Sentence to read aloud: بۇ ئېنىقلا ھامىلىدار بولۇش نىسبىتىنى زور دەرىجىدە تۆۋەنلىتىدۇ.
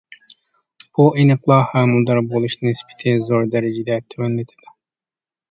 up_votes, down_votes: 0, 2